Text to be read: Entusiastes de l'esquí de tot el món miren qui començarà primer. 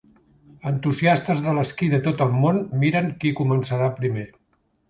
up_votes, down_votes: 3, 0